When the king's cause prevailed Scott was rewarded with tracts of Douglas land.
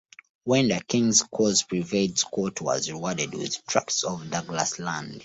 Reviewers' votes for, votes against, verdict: 2, 0, accepted